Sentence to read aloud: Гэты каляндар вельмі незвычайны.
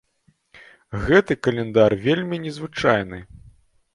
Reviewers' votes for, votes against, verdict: 2, 0, accepted